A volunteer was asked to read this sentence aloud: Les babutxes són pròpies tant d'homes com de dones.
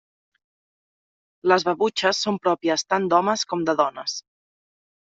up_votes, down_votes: 0, 2